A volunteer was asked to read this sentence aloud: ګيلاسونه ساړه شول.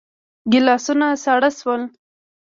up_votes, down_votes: 2, 0